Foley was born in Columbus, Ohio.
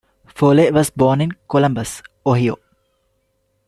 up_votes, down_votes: 1, 2